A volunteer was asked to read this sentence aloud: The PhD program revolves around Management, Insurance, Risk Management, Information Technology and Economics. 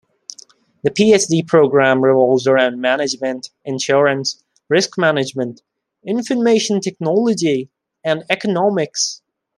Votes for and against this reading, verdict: 2, 0, accepted